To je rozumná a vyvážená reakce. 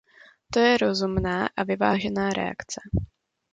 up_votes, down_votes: 2, 0